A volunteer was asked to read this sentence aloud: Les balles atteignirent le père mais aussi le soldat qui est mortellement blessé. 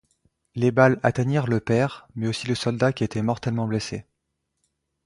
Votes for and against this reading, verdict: 0, 2, rejected